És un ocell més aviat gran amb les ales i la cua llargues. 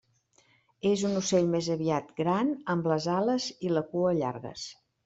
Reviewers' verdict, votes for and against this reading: accepted, 3, 0